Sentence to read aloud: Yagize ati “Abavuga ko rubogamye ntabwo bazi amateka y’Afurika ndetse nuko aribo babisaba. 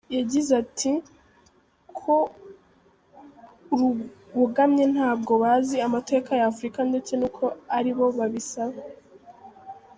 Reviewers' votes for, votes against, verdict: 0, 3, rejected